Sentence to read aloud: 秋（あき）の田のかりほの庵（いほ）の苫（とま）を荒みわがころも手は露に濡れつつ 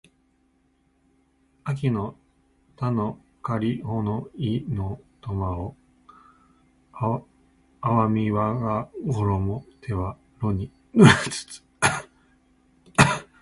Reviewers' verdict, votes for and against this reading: rejected, 0, 2